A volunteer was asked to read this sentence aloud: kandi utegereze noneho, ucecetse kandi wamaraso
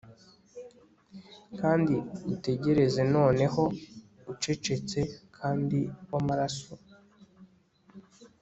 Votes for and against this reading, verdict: 2, 0, accepted